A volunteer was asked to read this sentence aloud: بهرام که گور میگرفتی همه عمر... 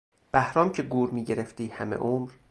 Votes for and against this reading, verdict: 2, 0, accepted